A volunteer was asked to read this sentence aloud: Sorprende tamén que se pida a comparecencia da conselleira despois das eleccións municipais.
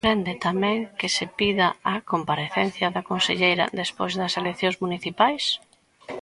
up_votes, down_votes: 0, 2